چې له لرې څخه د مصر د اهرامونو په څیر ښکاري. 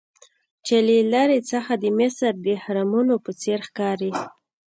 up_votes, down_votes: 2, 0